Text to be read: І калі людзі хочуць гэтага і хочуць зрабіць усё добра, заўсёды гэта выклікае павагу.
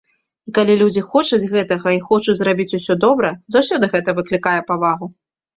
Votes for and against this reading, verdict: 2, 0, accepted